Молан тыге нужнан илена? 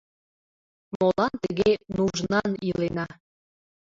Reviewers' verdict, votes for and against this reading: rejected, 1, 2